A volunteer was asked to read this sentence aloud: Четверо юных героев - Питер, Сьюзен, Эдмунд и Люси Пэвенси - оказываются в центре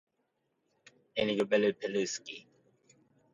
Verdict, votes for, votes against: rejected, 0, 2